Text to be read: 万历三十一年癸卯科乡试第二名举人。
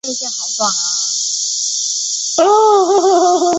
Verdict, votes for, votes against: rejected, 0, 3